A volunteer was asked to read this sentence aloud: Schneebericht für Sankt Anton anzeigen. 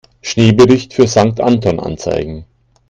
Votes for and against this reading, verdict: 2, 0, accepted